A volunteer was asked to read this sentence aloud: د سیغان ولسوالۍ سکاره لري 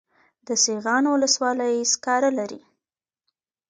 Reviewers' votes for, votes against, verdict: 2, 0, accepted